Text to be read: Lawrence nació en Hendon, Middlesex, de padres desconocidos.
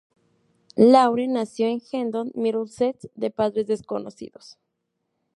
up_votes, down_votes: 2, 0